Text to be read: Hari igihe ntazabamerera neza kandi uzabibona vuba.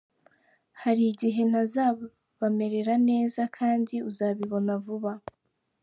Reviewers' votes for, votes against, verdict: 2, 0, accepted